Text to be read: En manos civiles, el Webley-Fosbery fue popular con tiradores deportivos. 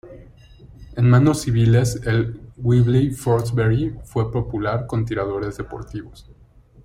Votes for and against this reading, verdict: 1, 2, rejected